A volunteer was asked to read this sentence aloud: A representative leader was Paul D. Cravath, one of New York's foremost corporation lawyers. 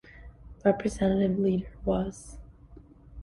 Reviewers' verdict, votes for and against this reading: rejected, 0, 2